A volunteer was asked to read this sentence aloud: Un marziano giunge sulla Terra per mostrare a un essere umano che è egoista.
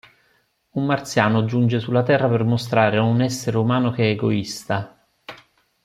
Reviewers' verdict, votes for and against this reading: accepted, 2, 0